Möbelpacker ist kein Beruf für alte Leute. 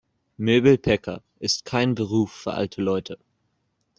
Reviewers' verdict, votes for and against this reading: rejected, 1, 2